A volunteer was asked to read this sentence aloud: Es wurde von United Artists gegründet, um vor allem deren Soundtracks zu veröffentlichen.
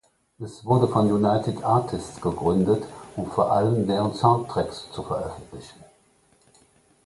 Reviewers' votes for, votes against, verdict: 2, 0, accepted